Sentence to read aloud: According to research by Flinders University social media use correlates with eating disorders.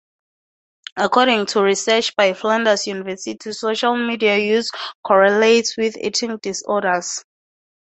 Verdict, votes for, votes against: accepted, 2, 0